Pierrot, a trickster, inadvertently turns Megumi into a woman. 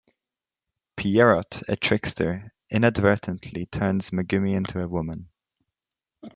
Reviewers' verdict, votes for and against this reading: rejected, 1, 2